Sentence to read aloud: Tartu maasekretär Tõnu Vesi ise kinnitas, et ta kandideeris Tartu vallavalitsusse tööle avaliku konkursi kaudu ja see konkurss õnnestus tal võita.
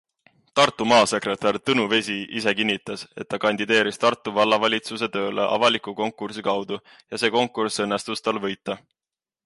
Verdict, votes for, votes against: accepted, 3, 1